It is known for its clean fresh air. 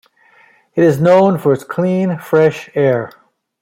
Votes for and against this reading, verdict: 2, 0, accepted